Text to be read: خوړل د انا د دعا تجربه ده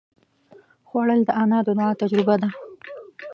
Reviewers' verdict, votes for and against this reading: rejected, 1, 2